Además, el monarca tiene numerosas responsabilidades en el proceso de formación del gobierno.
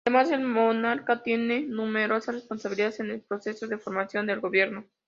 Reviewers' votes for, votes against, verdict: 2, 0, accepted